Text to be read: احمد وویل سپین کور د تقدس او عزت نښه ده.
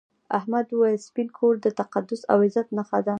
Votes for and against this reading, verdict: 2, 0, accepted